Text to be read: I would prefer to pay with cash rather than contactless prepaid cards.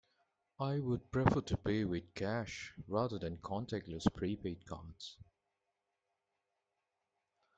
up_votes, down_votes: 1, 2